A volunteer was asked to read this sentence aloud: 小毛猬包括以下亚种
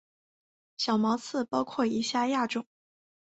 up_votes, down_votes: 0, 2